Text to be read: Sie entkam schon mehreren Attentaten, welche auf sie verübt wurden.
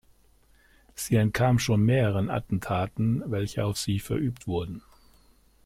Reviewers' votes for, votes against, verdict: 2, 0, accepted